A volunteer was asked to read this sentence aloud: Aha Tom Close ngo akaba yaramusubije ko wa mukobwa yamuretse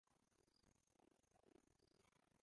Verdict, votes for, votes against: rejected, 0, 2